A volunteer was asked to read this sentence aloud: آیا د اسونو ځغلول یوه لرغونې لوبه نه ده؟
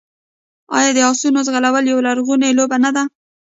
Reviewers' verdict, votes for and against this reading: rejected, 1, 2